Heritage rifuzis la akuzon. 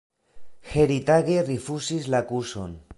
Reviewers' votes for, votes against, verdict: 2, 0, accepted